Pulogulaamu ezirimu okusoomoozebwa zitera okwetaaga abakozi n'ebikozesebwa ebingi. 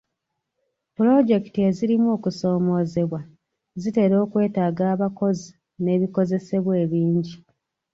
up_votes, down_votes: 0, 2